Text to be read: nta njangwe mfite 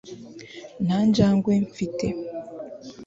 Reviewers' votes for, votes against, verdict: 2, 0, accepted